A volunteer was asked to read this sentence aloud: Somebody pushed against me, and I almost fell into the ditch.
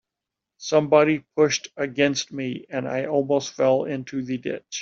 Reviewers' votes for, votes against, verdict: 3, 0, accepted